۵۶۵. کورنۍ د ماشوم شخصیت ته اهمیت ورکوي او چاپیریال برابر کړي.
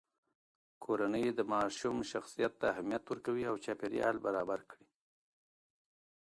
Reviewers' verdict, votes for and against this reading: rejected, 0, 2